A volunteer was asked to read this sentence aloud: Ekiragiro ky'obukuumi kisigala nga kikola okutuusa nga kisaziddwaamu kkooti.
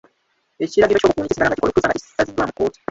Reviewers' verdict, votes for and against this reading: rejected, 1, 2